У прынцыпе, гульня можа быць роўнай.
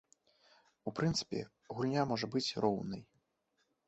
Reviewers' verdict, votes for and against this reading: accepted, 2, 0